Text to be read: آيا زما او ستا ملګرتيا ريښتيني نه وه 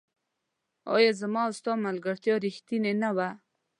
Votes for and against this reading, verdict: 2, 0, accepted